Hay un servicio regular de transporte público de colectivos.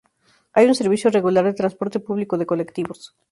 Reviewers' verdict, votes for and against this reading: accepted, 2, 0